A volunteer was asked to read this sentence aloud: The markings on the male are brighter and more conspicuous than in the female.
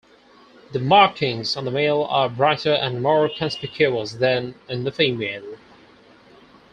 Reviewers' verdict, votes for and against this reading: accepted, 4, 0